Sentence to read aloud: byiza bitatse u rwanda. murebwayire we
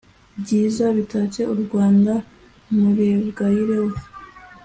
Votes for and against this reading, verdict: 2, 0, accepted